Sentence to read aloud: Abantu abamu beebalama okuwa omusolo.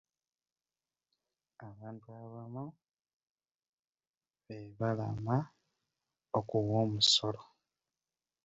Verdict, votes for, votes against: rejected, 0, 2